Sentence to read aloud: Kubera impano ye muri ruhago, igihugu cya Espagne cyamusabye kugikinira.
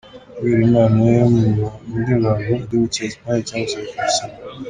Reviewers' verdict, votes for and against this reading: rejected, 2, 3